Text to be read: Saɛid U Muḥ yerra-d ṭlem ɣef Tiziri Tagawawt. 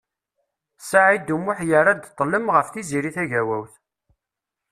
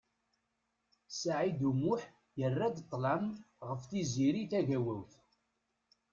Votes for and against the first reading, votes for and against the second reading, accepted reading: 2, 0, 1, 2, first